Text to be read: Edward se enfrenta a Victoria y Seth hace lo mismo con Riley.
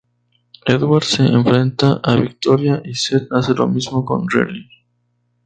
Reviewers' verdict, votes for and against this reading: accepted, 2, 0